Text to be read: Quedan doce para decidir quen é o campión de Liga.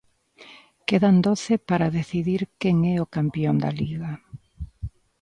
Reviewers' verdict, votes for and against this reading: rejected, 0, 2